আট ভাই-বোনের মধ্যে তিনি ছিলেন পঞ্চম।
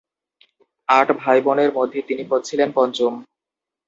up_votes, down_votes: 0, 2